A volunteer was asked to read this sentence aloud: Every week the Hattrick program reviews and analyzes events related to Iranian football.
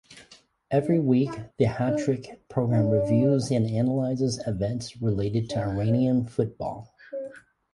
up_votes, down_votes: 3, 3